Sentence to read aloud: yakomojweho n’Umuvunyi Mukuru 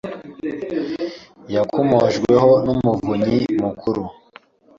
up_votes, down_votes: 2, 0